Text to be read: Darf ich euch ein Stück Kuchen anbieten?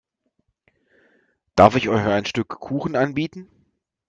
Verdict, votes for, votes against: accepted, 3, 0